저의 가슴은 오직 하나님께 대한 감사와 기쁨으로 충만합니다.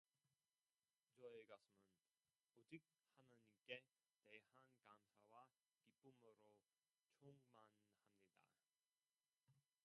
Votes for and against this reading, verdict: 1, 2, rejected